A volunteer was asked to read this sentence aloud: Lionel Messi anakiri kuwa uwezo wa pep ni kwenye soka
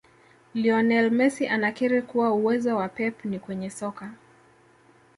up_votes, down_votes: 2, 0